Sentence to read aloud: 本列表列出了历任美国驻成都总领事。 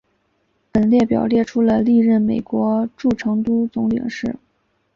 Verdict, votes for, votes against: accepted, 3, 0